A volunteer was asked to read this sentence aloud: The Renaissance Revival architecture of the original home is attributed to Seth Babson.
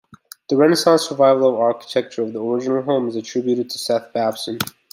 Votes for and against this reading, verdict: 3, 0, accepted